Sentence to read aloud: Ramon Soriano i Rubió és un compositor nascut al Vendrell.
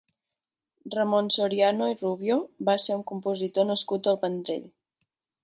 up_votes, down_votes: 1, 2